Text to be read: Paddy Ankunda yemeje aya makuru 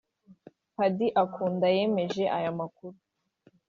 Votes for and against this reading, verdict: 2, 3, rejected